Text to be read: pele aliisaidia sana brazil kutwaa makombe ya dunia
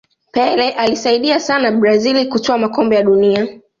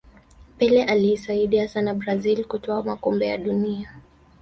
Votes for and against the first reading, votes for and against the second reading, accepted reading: 2, 1, 0, 2, first